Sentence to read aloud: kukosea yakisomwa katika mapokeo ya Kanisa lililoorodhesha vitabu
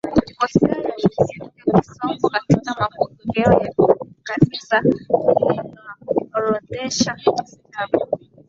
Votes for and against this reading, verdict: 3, 7, rejected